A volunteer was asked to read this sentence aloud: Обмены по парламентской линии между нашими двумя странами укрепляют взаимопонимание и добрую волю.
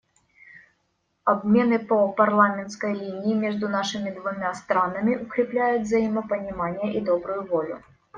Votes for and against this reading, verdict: 2, 0, accepted